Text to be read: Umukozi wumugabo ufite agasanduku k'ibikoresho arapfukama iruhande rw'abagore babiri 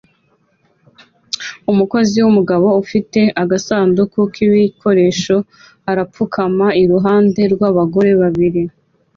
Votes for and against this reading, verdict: 2, 0, accepted